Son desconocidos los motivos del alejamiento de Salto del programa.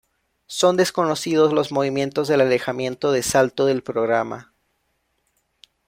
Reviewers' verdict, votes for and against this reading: rejected, 1, 2